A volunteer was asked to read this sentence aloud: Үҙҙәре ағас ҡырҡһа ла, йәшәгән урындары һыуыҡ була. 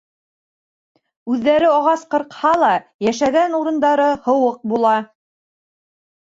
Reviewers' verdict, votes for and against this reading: rejected, 1, 2